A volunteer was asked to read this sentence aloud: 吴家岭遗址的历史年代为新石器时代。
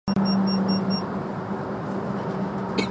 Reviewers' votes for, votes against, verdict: 0, 2, rejected